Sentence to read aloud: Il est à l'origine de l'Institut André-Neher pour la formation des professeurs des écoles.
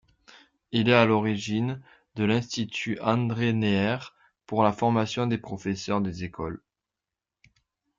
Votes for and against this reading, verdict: 2, 0, accepted